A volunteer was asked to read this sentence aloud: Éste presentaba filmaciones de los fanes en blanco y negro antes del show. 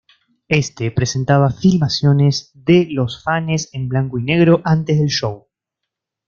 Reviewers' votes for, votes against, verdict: 2, 0, accepted